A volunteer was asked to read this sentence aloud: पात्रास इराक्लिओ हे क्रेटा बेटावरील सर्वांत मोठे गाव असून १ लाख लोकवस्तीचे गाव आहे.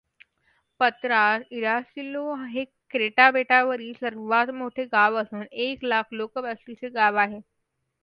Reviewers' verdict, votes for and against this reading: rejected, 0, 2